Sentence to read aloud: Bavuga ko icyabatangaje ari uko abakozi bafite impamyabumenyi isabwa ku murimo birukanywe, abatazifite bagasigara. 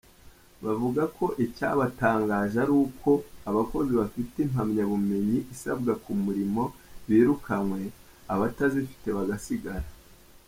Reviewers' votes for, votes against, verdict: 2, 1, accepted